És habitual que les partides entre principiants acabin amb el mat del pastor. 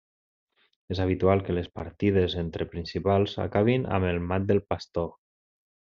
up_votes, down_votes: 0, 2